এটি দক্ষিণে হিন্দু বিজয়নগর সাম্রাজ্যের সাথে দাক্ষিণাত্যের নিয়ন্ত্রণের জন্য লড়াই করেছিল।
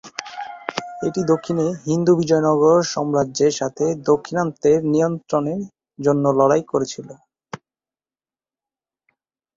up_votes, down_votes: 1, 2